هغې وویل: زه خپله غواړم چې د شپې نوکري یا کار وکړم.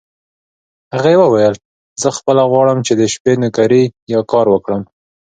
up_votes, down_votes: 2, 0